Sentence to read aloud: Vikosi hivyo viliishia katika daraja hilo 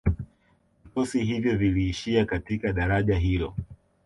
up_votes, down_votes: 2, 0